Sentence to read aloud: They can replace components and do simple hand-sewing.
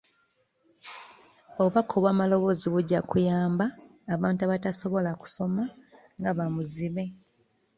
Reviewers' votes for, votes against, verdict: 0, 2, rejected